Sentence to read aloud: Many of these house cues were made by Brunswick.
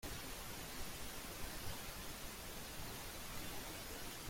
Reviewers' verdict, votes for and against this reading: rejected, 0, 2